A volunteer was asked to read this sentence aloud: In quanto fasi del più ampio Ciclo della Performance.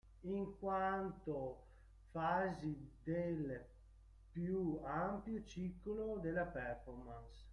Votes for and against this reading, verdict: 0, 2, rejected